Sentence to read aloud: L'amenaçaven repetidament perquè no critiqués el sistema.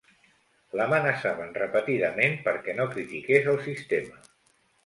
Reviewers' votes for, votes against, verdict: 2, 0, accepted